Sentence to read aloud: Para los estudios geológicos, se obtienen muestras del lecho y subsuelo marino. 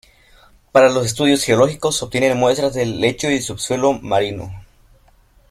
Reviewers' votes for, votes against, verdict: 1, 2, rejected